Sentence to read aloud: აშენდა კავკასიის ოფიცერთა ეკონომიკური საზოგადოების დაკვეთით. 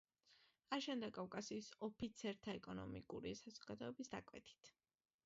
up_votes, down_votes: 2, 1